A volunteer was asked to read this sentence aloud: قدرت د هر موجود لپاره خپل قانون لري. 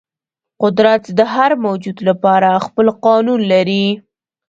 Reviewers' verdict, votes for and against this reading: rejected, 0, 2